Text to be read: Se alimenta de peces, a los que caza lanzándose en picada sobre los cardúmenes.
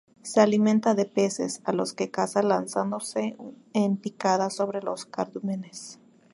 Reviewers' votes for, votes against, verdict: 2, 0, accepted